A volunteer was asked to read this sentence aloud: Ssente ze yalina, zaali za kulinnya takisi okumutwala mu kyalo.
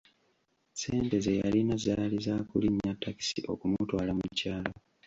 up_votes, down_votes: 0, 2